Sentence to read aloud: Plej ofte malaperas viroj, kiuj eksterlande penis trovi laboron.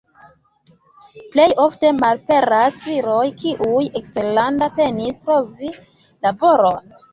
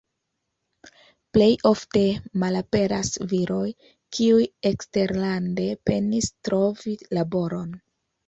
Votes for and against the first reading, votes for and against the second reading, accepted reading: 1, 2, 2, 0, second